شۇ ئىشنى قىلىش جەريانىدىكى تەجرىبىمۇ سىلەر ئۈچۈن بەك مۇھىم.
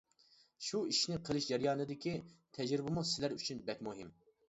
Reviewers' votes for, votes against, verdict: 3, 0, accepted